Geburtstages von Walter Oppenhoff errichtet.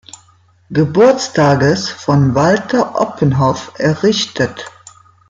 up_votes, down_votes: 2, 0